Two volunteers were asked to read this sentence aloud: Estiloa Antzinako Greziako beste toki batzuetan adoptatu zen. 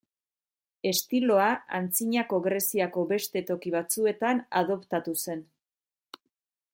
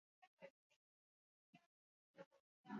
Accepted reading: first